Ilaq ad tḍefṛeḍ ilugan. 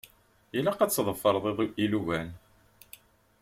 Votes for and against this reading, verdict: 0, 2, rejected